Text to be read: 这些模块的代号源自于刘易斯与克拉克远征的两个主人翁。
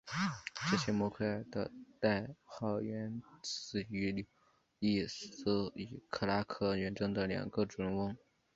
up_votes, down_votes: 0, 2